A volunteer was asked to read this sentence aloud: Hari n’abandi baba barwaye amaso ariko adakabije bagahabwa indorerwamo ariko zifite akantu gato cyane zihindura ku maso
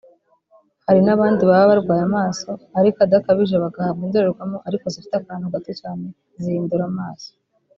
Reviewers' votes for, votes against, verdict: 1, 2, rejected